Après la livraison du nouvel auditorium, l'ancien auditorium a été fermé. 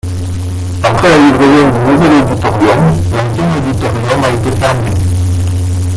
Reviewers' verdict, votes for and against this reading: rejected, 0, 2